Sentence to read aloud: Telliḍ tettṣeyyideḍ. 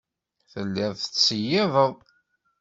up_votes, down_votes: 2, 0